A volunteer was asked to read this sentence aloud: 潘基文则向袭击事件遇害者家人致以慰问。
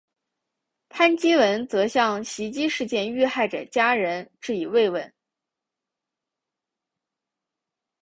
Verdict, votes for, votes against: accepted, 4, 0